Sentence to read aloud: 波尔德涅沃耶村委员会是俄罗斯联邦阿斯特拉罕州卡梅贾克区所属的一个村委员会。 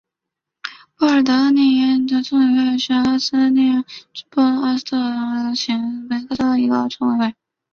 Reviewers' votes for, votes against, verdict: 2, 1, accepted